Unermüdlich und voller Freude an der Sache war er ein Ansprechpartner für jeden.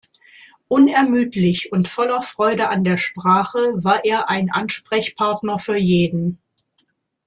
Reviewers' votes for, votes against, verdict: 0, 2, rejected